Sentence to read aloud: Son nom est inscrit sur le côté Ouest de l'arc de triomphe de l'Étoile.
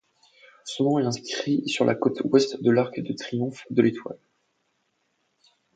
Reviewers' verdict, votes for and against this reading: rejected, 0, 2